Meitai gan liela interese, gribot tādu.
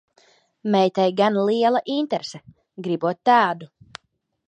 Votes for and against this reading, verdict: 2, 0, accepted